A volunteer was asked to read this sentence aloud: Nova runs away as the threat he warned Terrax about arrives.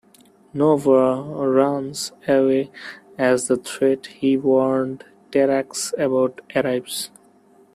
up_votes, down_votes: 1, 2